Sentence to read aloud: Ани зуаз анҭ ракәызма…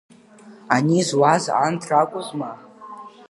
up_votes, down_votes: 2, 1